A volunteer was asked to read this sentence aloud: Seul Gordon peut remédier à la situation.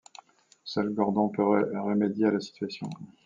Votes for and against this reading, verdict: 1, 2, rejected